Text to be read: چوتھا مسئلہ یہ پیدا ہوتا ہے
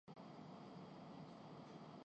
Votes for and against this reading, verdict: 1, 2, rejected